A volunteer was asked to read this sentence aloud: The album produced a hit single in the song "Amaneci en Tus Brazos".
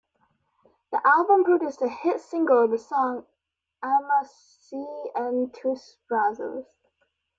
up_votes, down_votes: 0, 2